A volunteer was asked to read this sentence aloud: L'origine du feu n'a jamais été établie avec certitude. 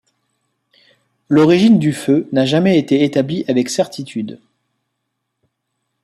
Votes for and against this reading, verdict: 2, 0, accepted